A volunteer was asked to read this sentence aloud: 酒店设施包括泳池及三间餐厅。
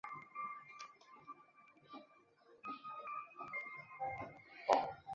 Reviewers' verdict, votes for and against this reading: rejected, 1, 2